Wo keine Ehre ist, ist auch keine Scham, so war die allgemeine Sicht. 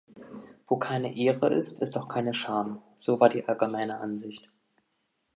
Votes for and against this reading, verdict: 0, 2, rejected